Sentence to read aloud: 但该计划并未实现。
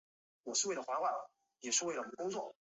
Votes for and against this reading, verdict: 1, 2, rejected